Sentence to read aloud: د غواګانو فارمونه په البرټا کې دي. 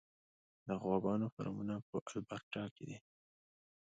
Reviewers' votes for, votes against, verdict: 2, 0, accepted